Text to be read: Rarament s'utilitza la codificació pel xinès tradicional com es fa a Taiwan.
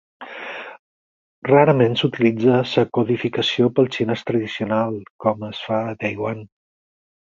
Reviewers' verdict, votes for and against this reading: rejected, 2, 4